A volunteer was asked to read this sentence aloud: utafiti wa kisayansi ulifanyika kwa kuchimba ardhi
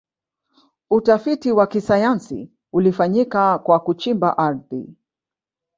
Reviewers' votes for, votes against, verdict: 2, 0, accepted